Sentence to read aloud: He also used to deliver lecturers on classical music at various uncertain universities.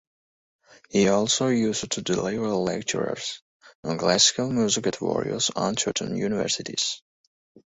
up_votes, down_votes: 2, 2